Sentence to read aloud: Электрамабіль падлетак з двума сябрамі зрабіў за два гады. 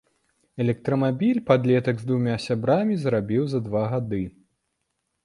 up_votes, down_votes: 2, 0